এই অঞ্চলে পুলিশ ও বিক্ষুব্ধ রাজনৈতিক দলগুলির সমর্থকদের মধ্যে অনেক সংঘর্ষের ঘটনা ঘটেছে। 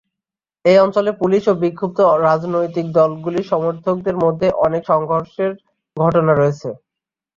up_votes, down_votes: 3, 5